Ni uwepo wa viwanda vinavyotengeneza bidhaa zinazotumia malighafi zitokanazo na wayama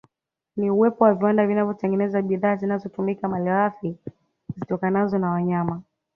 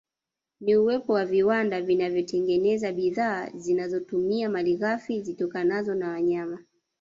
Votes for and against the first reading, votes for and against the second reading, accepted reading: 2, 0, 1, 2, first